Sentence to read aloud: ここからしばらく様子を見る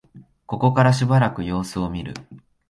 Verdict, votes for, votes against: accepted, 2, 0